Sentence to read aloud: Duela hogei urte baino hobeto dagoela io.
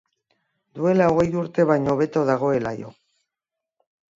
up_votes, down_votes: 2, 0